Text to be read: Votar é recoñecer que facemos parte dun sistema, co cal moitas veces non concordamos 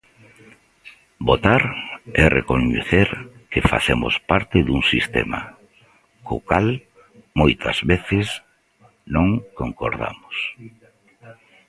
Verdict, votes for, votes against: accepted, 2, 1